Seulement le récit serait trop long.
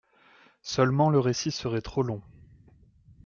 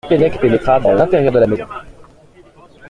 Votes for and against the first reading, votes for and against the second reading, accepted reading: 2, 0, 0, 2, first